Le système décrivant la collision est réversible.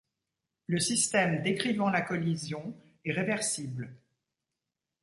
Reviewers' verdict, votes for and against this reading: accepted, 2, 0